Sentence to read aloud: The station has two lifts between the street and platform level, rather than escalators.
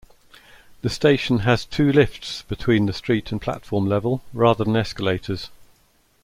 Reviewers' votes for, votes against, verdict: 3, 0, accepted